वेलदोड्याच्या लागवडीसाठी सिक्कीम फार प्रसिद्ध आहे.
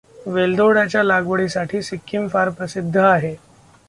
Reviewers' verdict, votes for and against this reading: accepted, 2, 1